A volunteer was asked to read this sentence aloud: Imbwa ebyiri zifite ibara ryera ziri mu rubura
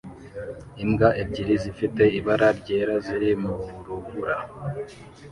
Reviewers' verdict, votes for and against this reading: rejected, 0, 2